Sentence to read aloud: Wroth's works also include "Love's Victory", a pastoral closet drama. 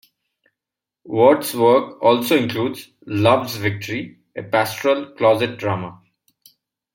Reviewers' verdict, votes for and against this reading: rejected, 0, 2